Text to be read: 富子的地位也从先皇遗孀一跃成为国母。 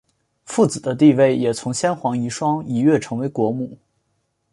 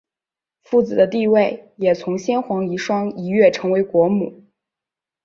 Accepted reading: first